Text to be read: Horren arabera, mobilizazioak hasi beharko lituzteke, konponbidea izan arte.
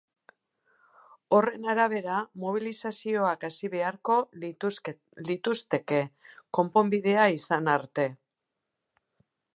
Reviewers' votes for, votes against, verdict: 0, 4, rejected